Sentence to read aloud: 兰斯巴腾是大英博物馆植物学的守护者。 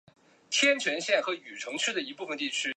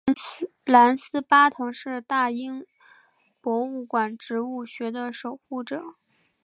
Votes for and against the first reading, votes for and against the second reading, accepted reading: 0, 2, 2, 1, second